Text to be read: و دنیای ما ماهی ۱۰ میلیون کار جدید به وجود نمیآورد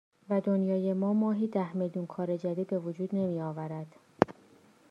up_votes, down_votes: 0, 2